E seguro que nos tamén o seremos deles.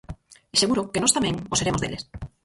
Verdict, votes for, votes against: rejected, 0, 4